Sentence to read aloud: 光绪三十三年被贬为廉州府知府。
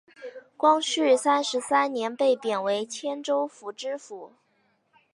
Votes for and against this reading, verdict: 1, 2, rejected